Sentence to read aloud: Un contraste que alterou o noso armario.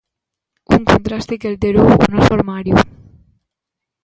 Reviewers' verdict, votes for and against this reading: rejected, 1, 2